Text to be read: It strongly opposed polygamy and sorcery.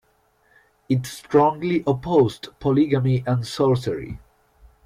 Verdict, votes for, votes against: accepted, 2, 0